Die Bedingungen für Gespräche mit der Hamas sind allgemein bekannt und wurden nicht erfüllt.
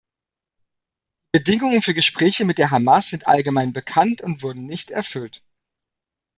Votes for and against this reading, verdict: 1, 2, rejected